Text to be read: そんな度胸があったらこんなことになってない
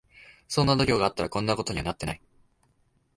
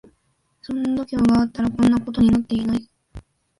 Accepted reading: first